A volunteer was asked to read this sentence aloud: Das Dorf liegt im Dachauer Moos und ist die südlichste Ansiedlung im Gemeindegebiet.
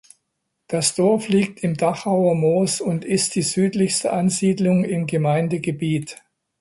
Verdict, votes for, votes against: accepted, 2, 0